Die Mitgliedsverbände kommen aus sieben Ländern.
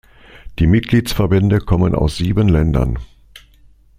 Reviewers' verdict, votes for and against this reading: accepted, 2, 0